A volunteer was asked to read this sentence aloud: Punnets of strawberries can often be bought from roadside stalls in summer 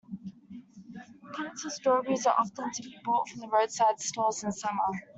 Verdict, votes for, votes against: rejected, 0, 2